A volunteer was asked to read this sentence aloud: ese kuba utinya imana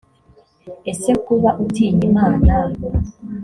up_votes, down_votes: 2, 0